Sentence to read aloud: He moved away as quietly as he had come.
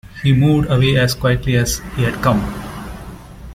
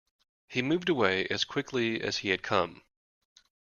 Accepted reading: first